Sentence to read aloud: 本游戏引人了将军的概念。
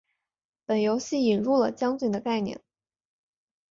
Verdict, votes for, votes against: accepted, 5, 0